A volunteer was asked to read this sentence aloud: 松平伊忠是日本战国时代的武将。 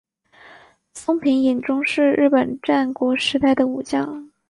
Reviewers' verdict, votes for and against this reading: accepted, 2, 0